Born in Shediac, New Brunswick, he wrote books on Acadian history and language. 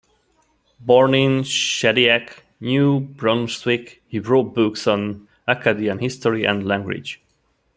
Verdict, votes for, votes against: accepted, 2, 1